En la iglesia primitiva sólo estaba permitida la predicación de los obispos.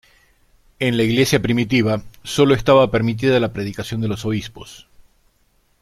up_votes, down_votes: 2, 0